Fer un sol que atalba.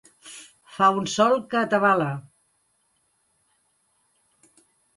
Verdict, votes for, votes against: rejected, 0, 2